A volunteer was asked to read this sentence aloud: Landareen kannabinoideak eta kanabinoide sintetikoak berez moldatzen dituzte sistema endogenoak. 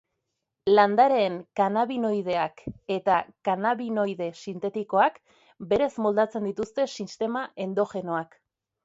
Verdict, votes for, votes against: accepted, 2, 1